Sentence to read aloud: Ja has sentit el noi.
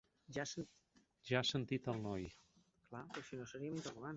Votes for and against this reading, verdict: 0, 3, rejected